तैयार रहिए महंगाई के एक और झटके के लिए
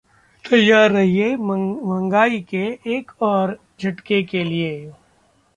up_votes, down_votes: 1, 2